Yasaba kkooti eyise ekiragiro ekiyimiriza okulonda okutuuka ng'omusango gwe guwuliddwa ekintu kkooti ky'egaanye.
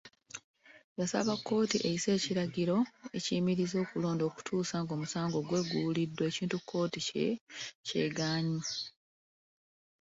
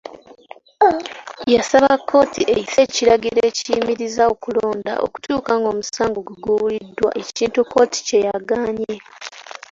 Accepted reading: first